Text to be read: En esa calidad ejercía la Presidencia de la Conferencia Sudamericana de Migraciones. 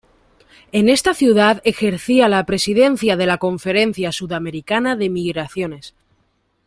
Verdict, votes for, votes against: rejected, 1, 2